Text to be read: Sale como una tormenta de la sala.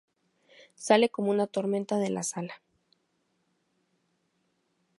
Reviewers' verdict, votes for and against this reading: accepted, 4, 0